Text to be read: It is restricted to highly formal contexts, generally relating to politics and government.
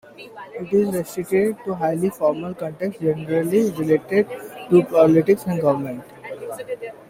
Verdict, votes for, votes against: rejected, 1, 2